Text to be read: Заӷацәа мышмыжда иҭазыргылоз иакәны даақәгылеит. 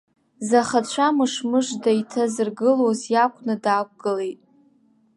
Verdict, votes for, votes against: rejected, 0, 2